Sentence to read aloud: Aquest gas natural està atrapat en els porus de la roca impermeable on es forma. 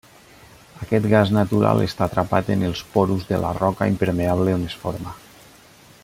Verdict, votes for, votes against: accepted, 2, 1